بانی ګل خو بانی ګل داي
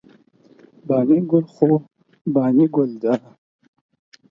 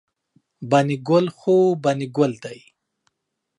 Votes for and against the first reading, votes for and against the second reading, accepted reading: 0, 4, 2, 0, second